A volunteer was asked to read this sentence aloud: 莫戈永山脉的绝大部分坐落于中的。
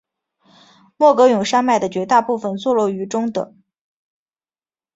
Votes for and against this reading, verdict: 3, 0, accepted